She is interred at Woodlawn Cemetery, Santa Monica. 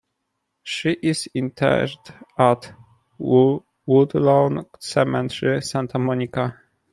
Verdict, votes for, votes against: rejected, 1, 2